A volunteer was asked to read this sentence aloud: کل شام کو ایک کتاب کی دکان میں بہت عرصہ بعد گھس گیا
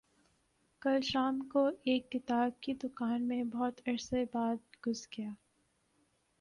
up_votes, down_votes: 2, 1